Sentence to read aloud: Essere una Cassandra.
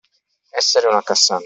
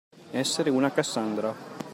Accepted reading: second